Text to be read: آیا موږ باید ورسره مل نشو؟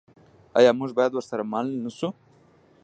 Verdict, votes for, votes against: rejected, 0, 2